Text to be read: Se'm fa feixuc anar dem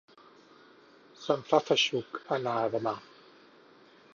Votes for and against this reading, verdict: 2, 4, rejected